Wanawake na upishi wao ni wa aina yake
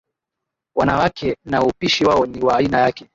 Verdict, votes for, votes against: accepted, 7, 1